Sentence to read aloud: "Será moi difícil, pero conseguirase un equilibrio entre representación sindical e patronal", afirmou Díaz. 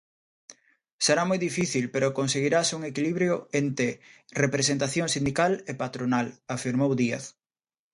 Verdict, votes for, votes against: rejected, 0, 2